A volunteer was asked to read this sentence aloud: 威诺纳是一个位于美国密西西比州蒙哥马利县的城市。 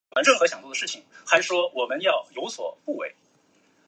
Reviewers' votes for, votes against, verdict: 0, 3, rejected